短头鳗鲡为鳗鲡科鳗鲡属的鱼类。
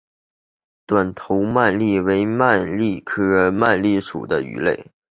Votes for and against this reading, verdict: 4, 0, accepted